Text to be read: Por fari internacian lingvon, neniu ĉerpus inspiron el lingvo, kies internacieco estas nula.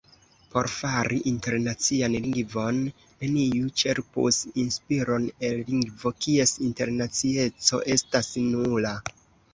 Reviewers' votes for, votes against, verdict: 2, 0, accepted